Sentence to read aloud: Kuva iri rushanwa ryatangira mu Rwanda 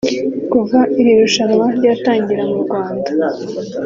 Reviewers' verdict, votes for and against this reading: accepted, 2, 0